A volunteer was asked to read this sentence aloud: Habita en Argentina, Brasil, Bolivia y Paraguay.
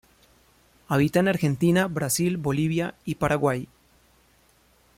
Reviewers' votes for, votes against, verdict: 2, 0, accepted